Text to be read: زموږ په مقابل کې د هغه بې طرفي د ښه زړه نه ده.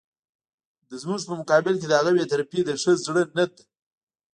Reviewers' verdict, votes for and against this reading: rejected, 1, 2